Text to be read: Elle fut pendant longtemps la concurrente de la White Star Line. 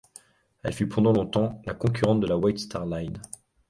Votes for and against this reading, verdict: 2, 0, accepted